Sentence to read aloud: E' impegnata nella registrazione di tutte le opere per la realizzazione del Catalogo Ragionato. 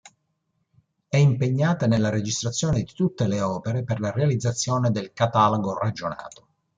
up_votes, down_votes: 2, 1